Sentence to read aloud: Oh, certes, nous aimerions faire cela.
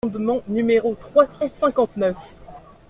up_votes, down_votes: 0, 2